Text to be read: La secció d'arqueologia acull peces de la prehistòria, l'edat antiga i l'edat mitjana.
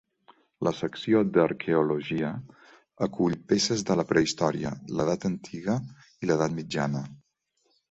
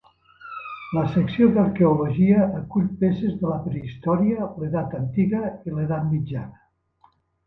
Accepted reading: first